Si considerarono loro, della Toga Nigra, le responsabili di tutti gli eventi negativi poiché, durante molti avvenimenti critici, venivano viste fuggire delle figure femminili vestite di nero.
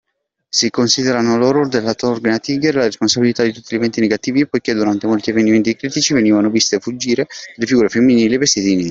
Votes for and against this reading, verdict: 0, 2, rejected